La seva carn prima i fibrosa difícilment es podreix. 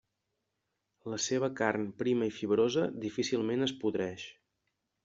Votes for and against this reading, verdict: 3, 0, accepted